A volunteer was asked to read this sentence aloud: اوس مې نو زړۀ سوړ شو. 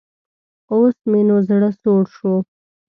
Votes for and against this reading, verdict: 2, 0, accepted